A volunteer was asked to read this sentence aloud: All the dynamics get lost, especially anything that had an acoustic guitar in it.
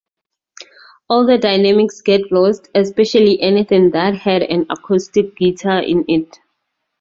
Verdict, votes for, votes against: accepted, 2, 0